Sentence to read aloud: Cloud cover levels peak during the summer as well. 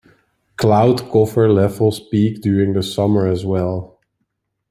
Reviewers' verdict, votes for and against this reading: accepted, 2, 0